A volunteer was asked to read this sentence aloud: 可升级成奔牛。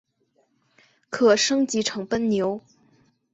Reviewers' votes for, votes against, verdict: 3, 2, accepted